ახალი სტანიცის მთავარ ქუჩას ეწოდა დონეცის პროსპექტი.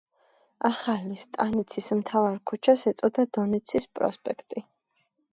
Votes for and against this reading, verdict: 1, 2, rejected